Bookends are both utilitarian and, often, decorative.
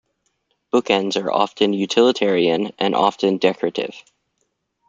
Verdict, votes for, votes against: rejected, 1, 2